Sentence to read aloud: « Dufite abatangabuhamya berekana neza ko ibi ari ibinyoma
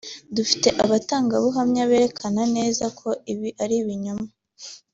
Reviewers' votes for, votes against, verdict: 2, 0, accepted